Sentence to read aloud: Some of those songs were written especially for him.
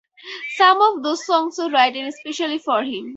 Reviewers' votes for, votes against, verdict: 0, 4, rejected